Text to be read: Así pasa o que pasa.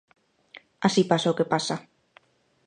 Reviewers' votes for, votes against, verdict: 2, 0, accepted